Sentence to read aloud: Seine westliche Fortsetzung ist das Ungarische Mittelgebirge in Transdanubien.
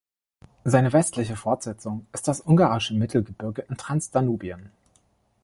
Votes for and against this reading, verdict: 1, 2, rejected